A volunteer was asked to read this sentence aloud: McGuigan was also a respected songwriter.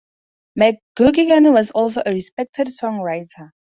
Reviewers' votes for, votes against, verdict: 0, 2, rejected